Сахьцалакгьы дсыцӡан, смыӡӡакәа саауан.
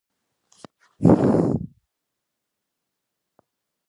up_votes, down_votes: 0, 2